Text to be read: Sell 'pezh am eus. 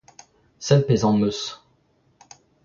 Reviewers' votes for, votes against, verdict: 2, 1, accepted